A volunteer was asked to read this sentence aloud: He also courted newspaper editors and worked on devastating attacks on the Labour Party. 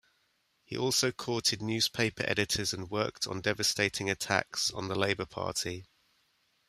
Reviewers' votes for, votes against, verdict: 2, 0, accepted